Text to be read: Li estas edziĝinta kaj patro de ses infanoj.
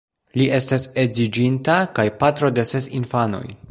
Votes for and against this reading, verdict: 2, 1, accepted